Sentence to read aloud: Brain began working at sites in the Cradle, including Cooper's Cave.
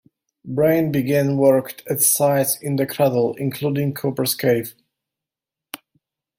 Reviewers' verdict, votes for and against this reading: rejected, 0, 2